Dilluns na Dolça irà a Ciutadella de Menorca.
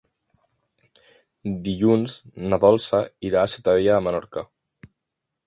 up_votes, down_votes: 1, 2